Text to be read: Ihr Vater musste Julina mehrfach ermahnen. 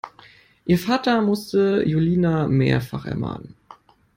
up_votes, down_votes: 2, 0